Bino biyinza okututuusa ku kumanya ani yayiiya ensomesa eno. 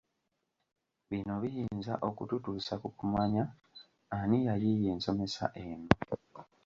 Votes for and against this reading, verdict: 1, 2, rejected